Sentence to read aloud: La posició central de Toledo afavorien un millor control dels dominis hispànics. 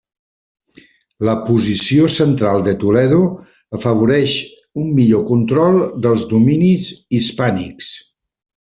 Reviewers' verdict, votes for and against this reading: rejected, 0, 2